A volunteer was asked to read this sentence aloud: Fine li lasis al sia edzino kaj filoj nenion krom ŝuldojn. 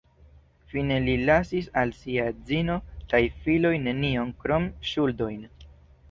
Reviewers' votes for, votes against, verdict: 2, 0, accepted